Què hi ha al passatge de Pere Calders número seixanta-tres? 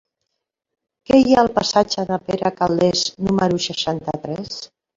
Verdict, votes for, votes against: rejected, 1, 2